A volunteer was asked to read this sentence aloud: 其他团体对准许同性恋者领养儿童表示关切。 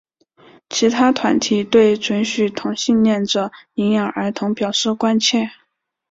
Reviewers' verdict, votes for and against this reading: accepted, 3, 1